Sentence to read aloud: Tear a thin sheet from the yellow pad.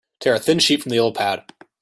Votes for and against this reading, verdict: 1, 2, rejected